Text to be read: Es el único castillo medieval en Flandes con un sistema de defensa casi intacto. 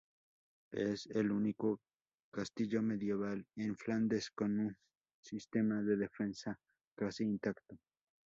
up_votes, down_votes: 2, 0